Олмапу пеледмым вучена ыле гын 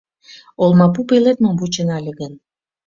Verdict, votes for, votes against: accepted, 2, 0